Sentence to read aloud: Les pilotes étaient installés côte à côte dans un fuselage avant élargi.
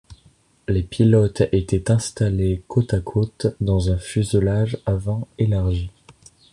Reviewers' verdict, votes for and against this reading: accepted, 2, 0